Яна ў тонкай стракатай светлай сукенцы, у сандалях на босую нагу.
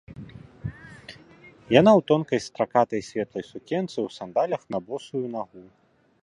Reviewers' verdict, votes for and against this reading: accepted, 2, 0